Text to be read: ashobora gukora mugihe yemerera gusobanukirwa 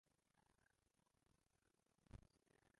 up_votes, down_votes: 0, 2